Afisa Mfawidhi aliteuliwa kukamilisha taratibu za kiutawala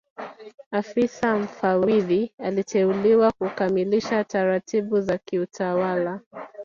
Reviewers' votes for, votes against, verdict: 5, 0, accepted